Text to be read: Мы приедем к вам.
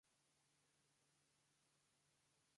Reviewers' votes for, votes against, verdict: 0, 2, rejected